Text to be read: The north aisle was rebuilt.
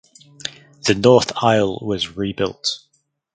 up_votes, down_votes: 2, 2